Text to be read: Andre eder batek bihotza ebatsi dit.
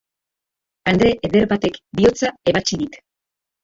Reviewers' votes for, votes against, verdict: 1, 2, rejected